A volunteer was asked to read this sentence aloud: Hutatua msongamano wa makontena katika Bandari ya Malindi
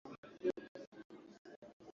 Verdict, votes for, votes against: rejected, 0, 2